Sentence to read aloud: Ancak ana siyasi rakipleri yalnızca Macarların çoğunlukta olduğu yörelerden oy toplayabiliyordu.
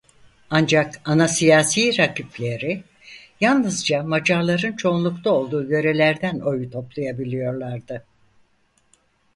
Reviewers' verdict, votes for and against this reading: rejected, 0, 4